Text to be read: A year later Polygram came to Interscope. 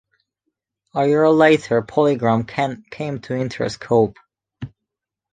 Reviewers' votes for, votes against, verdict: 1, 2, rejected